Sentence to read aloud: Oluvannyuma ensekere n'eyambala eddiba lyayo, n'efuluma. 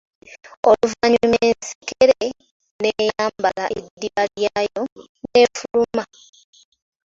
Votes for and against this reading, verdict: 2, 1, accepted